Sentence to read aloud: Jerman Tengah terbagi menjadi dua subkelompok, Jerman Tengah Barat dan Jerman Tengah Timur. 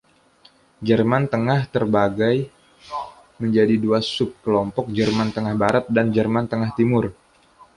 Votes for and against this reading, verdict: 1, 2, rejected